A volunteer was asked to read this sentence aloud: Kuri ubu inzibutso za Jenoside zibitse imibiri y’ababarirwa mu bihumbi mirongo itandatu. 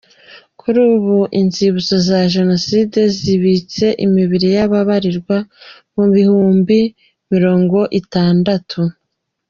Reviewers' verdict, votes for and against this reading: accepted, 2, 0